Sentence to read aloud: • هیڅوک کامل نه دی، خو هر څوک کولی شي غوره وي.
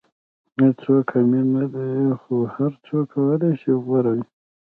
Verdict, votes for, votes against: rejected, 1, 2